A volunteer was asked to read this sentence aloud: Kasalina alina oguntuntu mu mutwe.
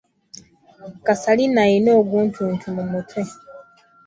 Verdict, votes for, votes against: accepted, 2, 0